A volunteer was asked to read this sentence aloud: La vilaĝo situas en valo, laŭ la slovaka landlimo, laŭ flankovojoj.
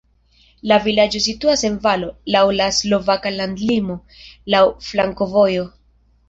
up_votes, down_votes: 1, 2